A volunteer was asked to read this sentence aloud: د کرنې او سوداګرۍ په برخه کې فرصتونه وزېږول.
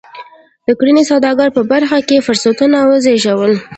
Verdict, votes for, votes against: accepted, 2, 1